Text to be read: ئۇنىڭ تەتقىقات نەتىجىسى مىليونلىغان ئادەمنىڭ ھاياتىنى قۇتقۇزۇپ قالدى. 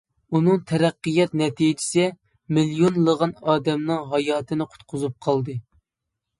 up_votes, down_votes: 1, 2